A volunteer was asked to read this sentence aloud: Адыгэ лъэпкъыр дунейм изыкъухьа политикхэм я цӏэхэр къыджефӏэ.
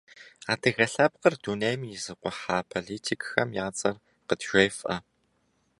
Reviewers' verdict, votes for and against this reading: rejected, 1, 2